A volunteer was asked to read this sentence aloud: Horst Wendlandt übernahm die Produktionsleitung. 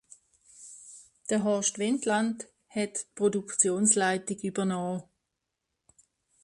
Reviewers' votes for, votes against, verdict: 0, 2, rejected